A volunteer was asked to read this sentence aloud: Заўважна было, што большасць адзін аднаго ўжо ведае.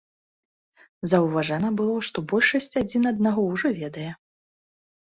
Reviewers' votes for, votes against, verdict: 1, 2, rejected